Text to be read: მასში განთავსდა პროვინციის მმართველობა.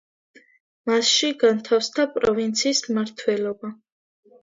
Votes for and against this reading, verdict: 2, 1, accepted